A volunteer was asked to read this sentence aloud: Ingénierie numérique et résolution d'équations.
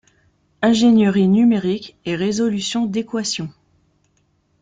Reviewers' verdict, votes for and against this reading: rejected, 1, 2